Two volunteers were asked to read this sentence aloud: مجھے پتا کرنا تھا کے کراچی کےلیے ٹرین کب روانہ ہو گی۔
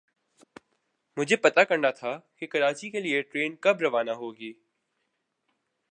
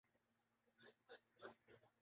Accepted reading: first